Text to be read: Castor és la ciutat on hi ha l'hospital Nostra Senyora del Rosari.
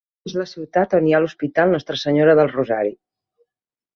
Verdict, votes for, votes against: rejected, 0, 3